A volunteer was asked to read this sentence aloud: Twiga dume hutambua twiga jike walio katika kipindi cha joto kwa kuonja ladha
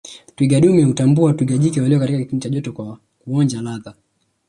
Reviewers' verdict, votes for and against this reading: accepted, 2, 0